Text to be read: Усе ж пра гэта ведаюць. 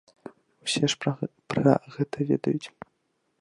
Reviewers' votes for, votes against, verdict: 0, 2, rejected